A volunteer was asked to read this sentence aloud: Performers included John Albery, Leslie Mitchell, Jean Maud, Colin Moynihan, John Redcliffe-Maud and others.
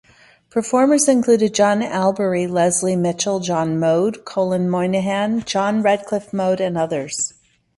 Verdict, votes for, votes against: rejected, 0, 2